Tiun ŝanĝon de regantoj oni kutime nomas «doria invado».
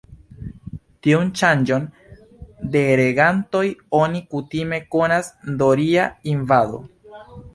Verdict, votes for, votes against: rejected, 0, 2